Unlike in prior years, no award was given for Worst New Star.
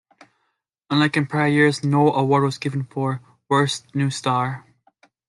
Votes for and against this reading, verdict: 2, 0, accepted